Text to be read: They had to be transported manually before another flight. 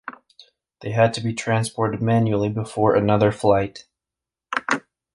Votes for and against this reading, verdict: 2, 0, accepted